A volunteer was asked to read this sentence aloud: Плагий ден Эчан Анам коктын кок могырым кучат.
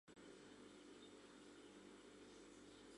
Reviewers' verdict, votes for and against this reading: accepted, 2, 1